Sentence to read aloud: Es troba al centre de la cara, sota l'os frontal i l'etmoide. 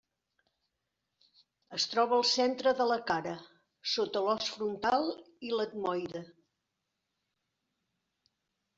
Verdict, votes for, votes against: accepted, 3, 0